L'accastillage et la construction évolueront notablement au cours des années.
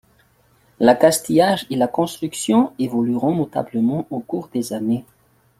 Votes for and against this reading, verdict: 2, 0, accepted